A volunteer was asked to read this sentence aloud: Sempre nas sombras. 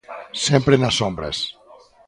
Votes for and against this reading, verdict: 2, 0, accepted